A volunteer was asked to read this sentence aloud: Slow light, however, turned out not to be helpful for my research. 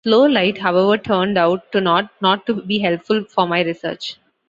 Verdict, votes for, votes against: rejected, 0, 2